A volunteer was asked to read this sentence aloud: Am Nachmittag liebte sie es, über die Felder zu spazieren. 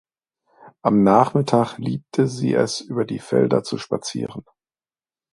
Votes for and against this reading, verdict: 2, 0, accepted